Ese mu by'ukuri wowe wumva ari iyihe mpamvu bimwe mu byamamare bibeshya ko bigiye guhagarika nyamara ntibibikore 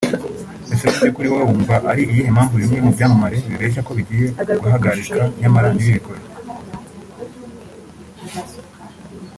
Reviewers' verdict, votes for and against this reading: accepted, 3, 0